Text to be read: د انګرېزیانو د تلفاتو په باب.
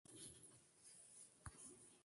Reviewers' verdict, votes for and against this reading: rejected, 0, 2